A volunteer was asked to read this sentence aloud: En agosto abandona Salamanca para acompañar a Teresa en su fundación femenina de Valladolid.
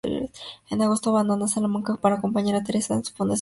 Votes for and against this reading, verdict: 0, 2, rejected